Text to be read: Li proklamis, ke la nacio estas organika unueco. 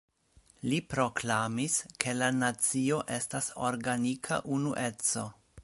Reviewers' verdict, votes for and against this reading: rejected, 0, 2